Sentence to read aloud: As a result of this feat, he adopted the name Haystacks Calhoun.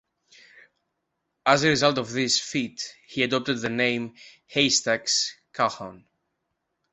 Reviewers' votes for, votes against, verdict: 2, 1, accepted